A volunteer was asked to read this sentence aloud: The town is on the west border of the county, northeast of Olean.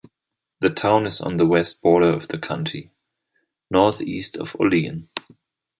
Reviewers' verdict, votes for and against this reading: accepted, 2, 0